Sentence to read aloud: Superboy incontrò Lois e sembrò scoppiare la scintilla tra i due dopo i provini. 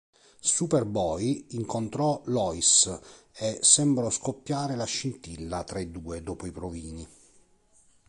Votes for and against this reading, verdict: 2, 0, accepted